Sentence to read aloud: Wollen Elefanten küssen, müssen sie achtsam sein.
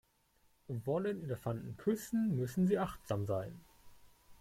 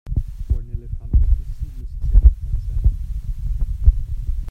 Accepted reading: first